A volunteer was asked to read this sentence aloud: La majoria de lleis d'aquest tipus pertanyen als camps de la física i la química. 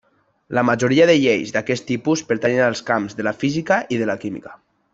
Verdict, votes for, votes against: accepted, 2, 0